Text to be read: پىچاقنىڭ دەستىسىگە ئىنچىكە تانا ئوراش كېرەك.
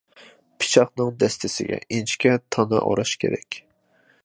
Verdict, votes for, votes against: accepted, 2, 0